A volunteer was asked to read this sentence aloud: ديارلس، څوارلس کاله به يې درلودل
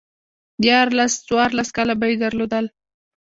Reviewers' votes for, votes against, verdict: 1, 2, rejected